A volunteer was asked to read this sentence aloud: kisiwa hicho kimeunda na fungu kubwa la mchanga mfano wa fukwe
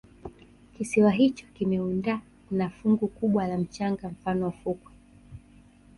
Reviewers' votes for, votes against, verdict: 1, 2, rejected